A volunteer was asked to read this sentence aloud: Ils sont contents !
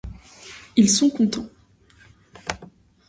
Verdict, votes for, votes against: rejected, 1, 2